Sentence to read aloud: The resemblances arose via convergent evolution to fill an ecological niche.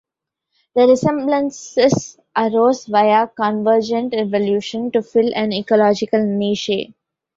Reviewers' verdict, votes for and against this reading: rejected, 1, 2